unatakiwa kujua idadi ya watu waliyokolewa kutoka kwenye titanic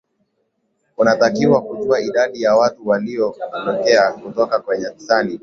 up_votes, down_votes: 0, 2